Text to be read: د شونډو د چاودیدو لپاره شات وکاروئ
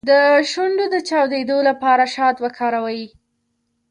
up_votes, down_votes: 2, 0